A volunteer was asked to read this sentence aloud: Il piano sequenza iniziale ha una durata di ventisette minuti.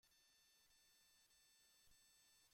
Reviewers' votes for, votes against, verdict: 0, 2, rejected